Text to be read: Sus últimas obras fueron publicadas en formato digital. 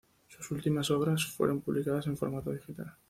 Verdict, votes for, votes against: accepted, 2, 0